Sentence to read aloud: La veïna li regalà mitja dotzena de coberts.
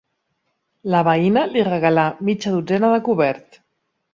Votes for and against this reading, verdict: 2, 0, accepted